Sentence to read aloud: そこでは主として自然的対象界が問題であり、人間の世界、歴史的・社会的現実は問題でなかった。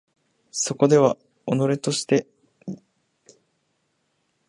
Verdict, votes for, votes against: rejected, 0, 2